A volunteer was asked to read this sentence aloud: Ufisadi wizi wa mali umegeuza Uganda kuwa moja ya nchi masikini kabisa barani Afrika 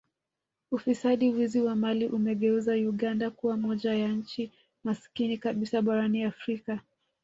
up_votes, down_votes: 0, 2